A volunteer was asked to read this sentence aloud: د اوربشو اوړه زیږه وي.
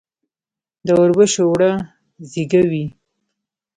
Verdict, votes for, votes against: rejected, 1, 2